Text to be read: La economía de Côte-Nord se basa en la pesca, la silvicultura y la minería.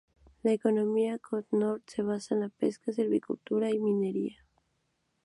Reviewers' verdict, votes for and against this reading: accepted, 2, 0